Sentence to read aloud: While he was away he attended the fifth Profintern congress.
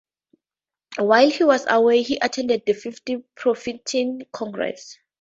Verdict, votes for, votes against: rejected, 0, 4